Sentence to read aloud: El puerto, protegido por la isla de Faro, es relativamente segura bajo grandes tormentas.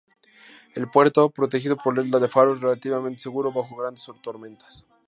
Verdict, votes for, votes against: accepted, 2, 0